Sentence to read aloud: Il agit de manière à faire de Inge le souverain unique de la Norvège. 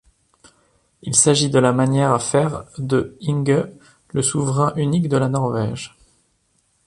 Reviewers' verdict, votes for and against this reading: rejected, 1, 2